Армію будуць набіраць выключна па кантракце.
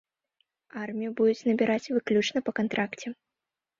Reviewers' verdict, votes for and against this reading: accepted, 2, 0